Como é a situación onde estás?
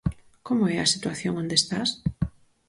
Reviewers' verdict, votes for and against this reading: accepted, 4, 0